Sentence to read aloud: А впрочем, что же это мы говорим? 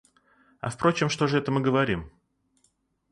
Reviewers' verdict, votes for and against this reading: accepted, 2, 0